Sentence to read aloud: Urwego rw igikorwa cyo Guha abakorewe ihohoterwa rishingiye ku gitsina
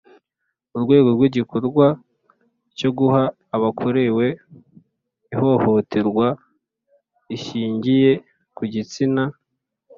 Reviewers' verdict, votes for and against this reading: accepted, 2, 0